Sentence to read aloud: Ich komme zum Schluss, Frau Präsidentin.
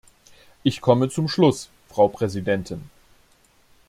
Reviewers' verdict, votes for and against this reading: accepted, 2, 0